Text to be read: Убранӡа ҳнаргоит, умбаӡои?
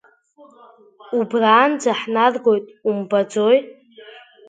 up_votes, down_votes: 3, 0